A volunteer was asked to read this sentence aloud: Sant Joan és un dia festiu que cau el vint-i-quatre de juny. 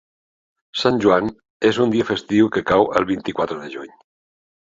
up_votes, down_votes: 2, 0